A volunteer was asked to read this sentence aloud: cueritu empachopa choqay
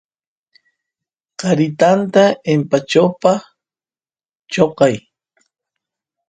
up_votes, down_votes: 1, 2